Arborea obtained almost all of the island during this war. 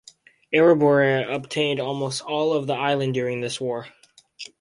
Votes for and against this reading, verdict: 2, 2, rejected